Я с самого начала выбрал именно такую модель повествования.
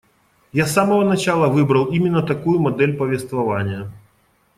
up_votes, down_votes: 2, 0